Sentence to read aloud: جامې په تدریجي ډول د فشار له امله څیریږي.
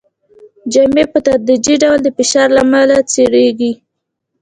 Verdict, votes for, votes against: accepted, 2, 0